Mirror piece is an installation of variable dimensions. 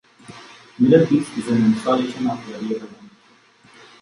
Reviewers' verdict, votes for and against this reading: rejected, 0, 2